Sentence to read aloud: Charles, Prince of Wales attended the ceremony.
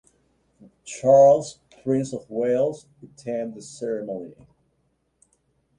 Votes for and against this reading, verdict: 2, 1, accepted